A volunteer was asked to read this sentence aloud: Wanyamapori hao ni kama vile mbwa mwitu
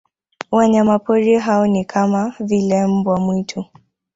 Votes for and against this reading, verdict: 0, 2, rejected